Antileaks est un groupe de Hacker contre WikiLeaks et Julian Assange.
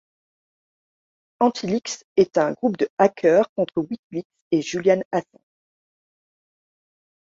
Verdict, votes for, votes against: rejected, 0, 2